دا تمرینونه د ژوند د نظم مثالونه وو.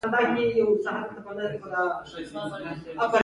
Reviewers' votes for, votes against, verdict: 1, 2, rejected